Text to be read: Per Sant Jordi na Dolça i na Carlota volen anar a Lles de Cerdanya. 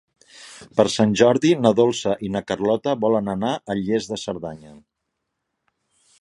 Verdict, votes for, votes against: accepted, 2, 0